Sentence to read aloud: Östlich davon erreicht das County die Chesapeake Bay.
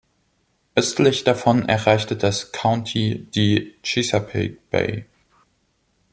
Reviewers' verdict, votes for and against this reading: rejected, 0, 2